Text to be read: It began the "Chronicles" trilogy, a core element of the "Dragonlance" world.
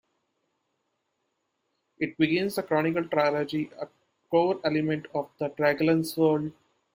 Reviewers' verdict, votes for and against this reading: rejected, 0, 2